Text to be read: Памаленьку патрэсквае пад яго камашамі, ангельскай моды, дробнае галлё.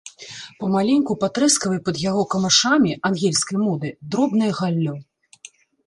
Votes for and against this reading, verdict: 1, 2, rejected